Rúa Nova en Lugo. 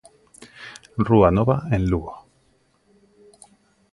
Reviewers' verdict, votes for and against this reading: accepted, 2, 0